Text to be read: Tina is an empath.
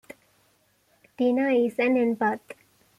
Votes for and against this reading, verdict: 2, 0, accepted